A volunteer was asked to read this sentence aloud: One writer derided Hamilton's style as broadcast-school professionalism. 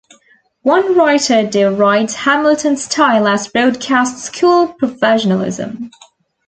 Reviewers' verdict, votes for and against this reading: accepted, 2, 0